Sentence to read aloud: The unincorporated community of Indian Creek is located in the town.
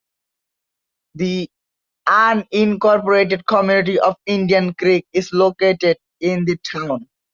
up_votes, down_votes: 2, 0